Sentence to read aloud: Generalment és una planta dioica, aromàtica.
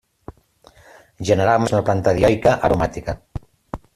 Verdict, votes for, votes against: rejected, 0, 2